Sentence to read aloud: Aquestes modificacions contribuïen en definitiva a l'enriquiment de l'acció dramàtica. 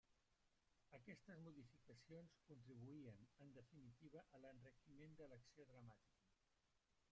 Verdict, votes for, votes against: rejected, 1, 2